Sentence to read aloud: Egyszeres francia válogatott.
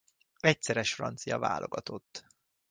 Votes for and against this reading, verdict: 2, 0, accepted